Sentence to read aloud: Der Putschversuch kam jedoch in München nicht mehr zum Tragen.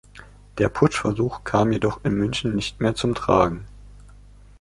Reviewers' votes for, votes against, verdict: 2, 0, accepted